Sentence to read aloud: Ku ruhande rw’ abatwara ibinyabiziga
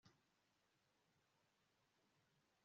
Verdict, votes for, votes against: rejected, 1, 2